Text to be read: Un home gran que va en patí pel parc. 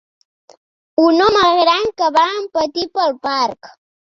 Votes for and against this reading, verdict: 2, 0, accepted